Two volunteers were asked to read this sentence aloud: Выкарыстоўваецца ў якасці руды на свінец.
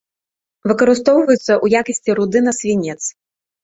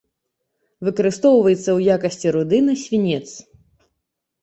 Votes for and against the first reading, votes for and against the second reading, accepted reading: 1, 2, 2, 0, second